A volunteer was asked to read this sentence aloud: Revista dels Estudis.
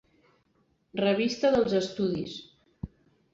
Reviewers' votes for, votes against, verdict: 3, 0, accepted